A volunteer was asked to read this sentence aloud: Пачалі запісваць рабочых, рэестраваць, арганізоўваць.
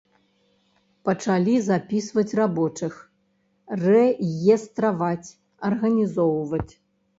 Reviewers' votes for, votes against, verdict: 1, 2, rejected